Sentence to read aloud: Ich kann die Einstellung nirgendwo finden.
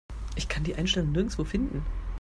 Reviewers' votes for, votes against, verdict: 1, 2, rejected